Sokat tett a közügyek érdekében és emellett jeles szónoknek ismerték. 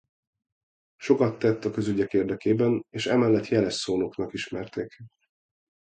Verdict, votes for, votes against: rejected, 0, 2